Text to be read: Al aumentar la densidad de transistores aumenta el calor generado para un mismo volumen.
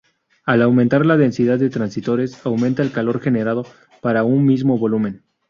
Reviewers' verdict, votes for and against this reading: rejected, 0, 2